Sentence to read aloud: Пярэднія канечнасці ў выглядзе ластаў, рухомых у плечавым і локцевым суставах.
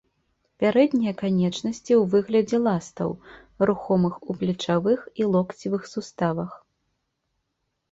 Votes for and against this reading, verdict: 1, 3, rejected